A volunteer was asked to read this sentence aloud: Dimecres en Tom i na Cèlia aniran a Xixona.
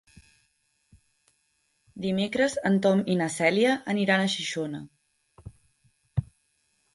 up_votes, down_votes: 3, 0